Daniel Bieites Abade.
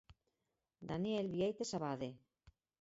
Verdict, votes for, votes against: rejected, 0, 4